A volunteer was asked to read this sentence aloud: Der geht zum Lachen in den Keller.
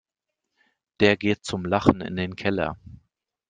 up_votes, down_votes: 2, 0